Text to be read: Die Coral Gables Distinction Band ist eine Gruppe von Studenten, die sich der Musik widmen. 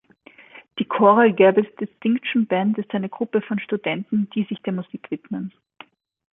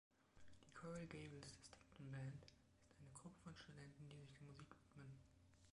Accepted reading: first